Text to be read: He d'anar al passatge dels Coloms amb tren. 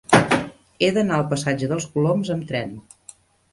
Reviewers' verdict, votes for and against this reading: rejected, 0, 2